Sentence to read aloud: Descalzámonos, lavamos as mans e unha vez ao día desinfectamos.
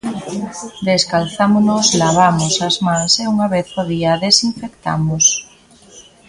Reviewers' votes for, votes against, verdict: 0, 2, rejected